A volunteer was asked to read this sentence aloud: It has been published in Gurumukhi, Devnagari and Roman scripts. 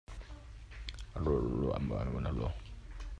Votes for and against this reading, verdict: 0, 2, rejected